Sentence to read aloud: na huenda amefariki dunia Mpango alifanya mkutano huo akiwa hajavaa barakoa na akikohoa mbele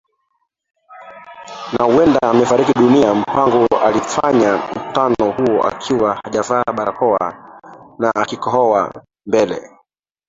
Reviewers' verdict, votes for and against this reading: rejected, 0, 2